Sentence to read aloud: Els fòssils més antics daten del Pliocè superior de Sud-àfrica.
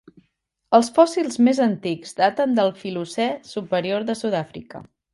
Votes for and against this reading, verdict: 1, 2, rejected